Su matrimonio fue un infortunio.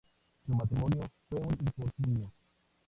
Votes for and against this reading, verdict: 0, 4, rejected